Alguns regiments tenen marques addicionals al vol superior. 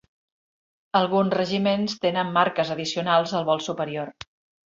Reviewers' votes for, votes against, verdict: 3, 0, accepted